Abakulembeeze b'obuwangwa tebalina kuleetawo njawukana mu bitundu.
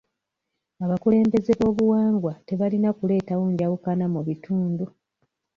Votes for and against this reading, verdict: 1, 2, rejected